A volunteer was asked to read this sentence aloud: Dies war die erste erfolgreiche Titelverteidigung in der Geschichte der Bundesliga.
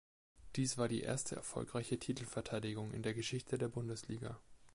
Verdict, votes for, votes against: accepted, 2, 0